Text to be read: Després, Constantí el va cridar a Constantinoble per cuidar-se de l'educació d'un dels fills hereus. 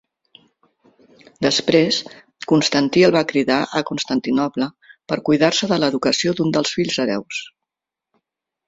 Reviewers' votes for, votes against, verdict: 4, 0, accepted